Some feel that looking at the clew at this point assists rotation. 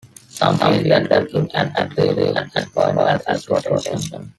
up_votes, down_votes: 0, 2